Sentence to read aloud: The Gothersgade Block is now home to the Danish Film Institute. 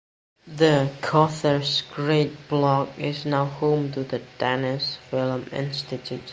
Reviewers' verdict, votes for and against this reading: rejected, 2, 3